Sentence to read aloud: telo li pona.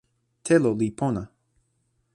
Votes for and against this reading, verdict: 2, 0, accepted